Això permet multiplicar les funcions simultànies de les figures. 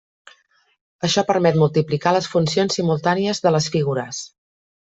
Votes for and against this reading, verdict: 3, 0, accepted